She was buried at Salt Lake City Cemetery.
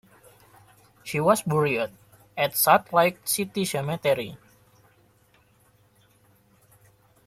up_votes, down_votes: 1, 2